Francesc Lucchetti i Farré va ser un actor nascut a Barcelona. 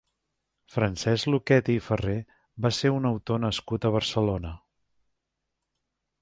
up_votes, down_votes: 0, 2